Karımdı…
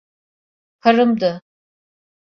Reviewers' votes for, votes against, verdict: 2, 0, accepted